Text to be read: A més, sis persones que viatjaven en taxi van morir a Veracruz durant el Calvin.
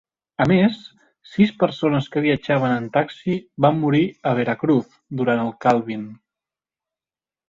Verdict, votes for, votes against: accepted, 3, 0